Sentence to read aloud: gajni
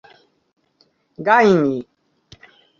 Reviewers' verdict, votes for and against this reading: accepted, 2, 0